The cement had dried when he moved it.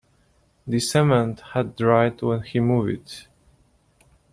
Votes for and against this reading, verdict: 0, 2, rejected